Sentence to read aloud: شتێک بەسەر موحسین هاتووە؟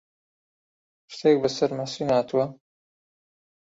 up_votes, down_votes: 2, 0